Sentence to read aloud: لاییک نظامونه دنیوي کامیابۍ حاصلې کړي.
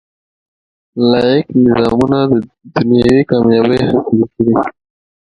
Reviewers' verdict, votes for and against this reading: accepted, 2, 0